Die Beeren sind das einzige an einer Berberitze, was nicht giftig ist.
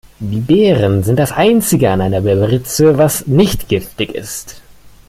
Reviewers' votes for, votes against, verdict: 2, 0, accepted